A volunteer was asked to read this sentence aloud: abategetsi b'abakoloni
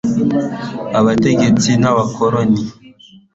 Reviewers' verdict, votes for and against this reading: accepted, 2, 1